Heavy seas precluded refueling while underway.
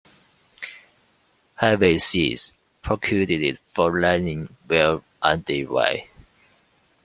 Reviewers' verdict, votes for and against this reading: rejected, 1, 2